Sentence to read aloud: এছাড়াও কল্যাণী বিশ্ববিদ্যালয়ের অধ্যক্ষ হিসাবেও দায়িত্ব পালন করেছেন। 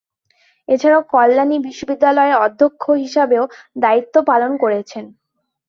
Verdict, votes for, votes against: accepted, 2, 1